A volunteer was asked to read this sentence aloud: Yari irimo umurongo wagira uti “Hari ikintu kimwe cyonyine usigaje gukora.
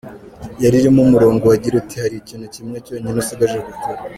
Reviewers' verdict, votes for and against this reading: rejected, 0, 2